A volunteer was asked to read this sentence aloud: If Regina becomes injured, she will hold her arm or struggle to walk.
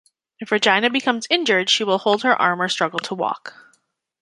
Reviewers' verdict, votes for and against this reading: accepted, 2, 0